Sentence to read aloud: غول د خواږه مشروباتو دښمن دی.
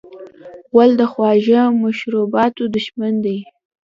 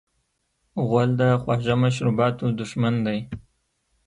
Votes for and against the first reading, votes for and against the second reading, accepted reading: 0, 2, 2, 1, second